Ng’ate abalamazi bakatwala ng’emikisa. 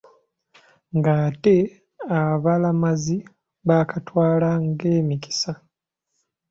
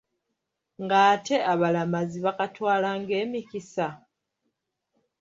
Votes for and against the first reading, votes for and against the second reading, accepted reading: 1, 2, 2, 1, second